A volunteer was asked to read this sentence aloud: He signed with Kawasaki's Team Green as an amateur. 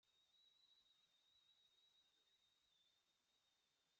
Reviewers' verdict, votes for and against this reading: rejected, 0, 2